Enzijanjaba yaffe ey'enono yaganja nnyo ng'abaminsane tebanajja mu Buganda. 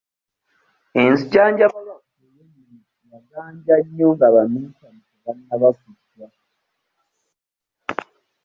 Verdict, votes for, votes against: rejected, 0, 2